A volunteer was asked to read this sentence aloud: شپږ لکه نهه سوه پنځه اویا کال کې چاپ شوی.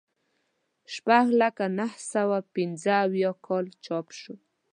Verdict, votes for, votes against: rejected, 1, 2